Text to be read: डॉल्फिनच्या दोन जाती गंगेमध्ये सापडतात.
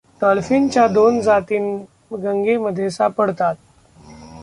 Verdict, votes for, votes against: rejected, 1, 2